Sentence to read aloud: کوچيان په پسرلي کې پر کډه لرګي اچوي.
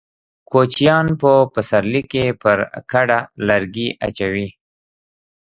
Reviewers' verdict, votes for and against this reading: rejected, 0, 2